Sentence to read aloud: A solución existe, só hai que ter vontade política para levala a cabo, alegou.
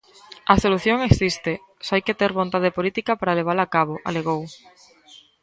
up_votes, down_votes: 2, 1